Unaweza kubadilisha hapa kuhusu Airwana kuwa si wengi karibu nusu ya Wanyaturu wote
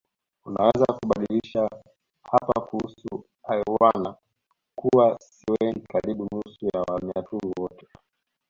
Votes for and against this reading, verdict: 1, 2, rejected